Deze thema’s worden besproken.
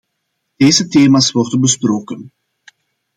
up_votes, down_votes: 2, 0